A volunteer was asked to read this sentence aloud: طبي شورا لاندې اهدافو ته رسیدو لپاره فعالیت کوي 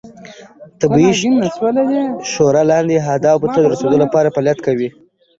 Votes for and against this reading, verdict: 1, 2, rejected